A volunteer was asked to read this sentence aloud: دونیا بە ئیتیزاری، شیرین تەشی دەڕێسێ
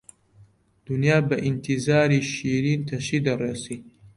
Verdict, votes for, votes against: accepted, 2, 0